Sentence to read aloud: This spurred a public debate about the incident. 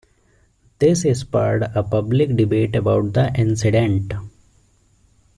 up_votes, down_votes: 2, 0